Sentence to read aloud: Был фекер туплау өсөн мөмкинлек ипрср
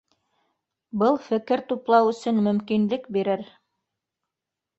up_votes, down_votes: 1, 2